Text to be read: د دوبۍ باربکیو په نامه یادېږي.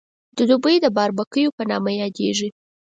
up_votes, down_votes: 4, 0